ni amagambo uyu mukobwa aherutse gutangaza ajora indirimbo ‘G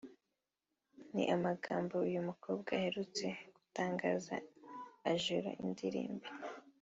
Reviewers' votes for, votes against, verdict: 0, 2, rejected